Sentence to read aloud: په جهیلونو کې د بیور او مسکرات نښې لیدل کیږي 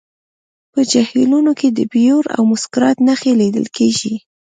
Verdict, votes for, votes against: accepted, 2, 1